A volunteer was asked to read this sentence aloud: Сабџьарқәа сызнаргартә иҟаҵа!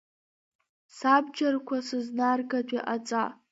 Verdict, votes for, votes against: accepted, 2, 1